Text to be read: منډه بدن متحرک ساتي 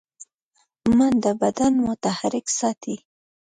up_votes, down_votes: 0, 2